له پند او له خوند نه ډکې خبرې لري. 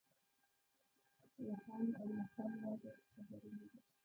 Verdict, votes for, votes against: rejected, 1, 2